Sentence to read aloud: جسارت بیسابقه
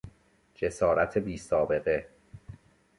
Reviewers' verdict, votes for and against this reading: accepted, 2, 1